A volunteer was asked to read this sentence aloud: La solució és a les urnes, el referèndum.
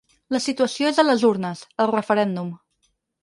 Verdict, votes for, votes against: rejected, 8, 10